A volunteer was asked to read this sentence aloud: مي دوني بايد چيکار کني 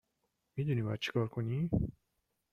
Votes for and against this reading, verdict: 2, 0, accepted